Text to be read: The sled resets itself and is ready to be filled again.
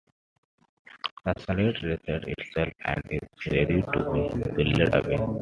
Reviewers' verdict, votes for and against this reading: rejected, 1, 2